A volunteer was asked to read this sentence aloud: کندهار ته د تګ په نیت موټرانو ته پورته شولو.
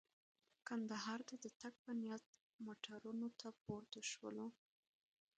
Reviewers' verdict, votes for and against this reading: rejected, 0, 2